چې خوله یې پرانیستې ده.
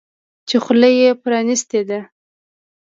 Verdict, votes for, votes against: accepted, 2, 0